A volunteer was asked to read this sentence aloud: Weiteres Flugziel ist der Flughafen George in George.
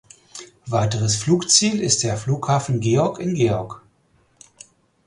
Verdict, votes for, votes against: rejected, 0, 4